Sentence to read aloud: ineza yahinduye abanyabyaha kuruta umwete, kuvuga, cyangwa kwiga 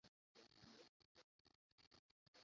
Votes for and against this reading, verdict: 0, 2, rejected